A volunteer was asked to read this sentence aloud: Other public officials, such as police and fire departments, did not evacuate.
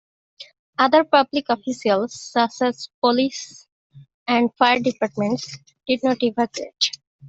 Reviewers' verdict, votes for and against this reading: accepted, 2, 0